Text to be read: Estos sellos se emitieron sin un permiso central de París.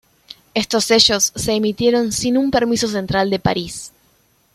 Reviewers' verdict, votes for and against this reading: accepted, 2, 0